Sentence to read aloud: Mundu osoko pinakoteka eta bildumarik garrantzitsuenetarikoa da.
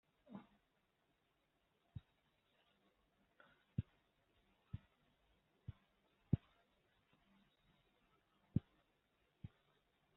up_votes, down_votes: 0, 2